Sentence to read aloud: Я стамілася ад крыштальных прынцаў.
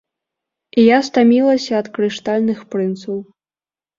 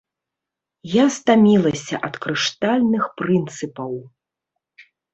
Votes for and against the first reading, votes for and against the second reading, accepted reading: 3, 0, 0, 2, first